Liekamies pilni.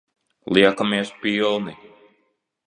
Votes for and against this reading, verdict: 2, 0, accepted